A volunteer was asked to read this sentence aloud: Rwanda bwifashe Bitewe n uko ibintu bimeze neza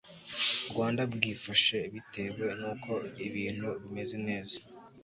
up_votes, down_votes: 0, 2